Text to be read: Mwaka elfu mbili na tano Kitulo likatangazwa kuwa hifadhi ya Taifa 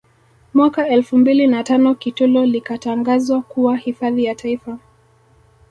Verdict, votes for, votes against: accepted, 2, 0